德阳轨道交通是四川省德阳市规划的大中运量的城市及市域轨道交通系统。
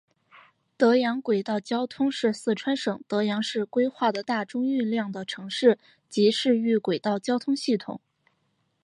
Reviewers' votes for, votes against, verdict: 4, 0, accepted